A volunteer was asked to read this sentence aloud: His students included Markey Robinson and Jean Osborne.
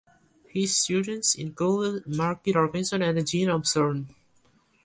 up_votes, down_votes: 1, 2